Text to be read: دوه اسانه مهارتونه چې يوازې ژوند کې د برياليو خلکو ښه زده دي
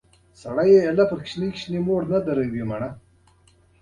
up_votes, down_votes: 0, 2